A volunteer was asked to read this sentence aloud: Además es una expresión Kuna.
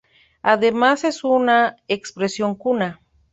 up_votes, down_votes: 2, 0